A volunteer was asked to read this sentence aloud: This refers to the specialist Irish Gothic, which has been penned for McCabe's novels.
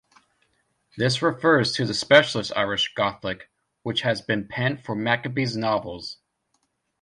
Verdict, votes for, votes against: rejected, 1, 2